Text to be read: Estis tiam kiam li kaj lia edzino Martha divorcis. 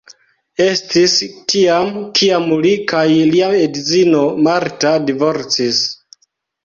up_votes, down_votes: 2, 0